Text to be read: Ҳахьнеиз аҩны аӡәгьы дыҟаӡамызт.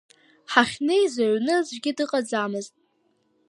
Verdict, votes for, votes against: rejected, 0, 2